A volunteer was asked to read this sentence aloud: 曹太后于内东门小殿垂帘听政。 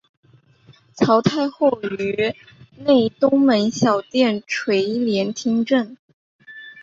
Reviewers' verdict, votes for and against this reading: accepted, 2, 0